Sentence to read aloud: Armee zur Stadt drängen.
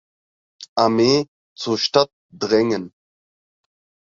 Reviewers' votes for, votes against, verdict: 6, 0, accepted